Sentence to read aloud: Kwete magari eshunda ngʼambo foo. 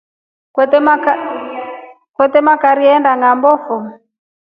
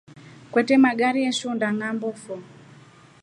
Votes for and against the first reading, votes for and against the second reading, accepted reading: 0, 2, 2, 0, second